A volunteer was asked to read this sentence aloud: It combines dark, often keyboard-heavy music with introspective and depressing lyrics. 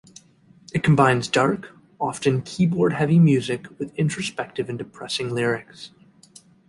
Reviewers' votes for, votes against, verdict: 2, 0, accepted